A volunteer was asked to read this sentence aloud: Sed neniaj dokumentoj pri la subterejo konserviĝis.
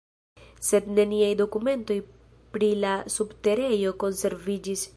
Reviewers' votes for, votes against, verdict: 0, 2, rejected